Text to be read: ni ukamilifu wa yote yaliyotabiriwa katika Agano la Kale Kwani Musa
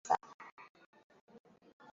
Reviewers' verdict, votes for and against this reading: rejected, 0, 2